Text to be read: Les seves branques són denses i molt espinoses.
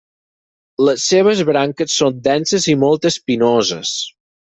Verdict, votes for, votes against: accepted, 6, 0